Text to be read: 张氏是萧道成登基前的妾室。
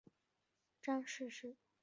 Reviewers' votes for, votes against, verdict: 0, 4, rejected